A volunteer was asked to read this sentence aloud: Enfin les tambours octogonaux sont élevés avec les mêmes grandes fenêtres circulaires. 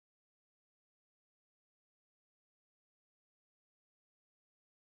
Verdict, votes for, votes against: rejected, 0, 3